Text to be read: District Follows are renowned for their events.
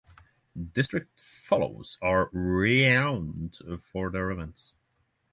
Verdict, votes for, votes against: rejected, 0, 3